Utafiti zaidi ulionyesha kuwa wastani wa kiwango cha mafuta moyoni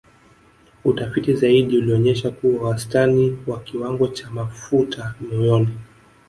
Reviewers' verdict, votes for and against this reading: accepted, 2, 0